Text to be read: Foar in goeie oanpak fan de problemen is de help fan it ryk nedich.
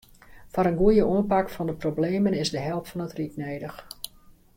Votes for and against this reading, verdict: 2, 0, accepted